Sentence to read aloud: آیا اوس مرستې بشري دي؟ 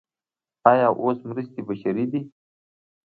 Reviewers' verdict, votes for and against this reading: accepted, 2, 0